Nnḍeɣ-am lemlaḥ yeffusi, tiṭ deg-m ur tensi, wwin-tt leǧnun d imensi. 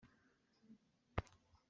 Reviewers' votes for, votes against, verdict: 0, 2, rejected